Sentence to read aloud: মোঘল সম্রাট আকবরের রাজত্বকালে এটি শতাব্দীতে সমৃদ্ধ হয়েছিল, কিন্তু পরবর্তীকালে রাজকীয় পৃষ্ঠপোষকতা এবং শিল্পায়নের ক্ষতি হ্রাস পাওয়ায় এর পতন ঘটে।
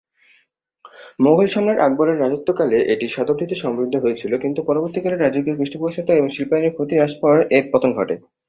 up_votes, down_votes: 0, 2